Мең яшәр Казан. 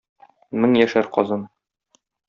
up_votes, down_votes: 0, 2